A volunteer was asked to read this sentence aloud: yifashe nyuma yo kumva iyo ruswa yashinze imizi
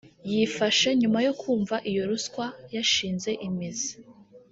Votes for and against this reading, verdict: 2, 0, accepted